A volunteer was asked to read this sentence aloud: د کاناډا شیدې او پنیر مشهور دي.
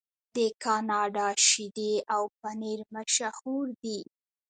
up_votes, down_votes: 0, 2